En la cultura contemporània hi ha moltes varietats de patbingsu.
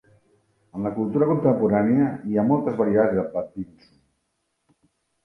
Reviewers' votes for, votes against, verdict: 0, 2, rejected